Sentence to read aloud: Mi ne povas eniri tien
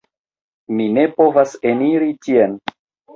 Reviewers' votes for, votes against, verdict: 1, 2, rejected